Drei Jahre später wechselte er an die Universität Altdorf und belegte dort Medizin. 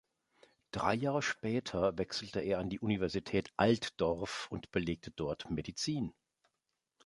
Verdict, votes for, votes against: accepted, 2, 0